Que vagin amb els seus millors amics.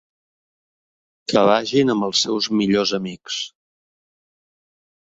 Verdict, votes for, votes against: accepted, 4, 0